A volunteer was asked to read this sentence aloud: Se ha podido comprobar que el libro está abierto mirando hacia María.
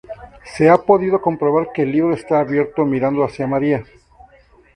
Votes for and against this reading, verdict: 2, 0, accepted